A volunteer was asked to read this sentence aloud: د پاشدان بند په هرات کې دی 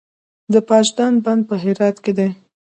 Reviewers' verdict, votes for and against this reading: accepted, 2, 0